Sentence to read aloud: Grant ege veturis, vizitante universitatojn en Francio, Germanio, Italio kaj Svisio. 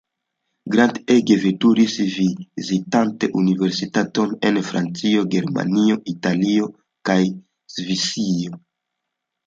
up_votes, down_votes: 1, 2